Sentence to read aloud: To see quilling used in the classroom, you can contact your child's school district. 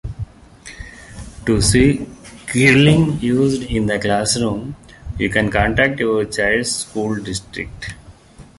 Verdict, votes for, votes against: rejected, 0, 2